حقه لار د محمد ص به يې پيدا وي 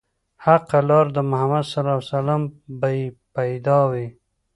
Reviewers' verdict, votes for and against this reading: accepted, 2, 0